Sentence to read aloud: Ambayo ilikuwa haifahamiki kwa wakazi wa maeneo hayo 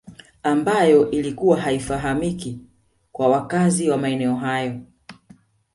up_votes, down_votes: 2, 0